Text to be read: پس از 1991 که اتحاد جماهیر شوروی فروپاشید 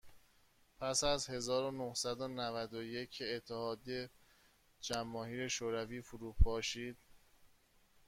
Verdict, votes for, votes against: rejected, 0, 2